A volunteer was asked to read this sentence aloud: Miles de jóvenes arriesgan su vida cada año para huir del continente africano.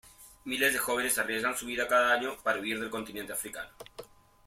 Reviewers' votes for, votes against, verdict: 0, 2, rejected